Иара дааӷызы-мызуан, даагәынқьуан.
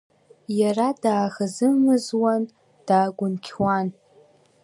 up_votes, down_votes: 2, 0